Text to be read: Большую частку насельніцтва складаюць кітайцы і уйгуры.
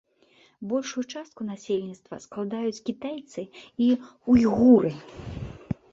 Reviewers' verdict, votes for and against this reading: accepted, 2, 0